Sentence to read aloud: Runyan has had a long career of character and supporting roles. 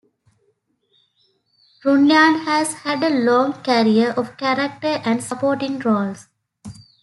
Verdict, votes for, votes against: accepted, 3, 1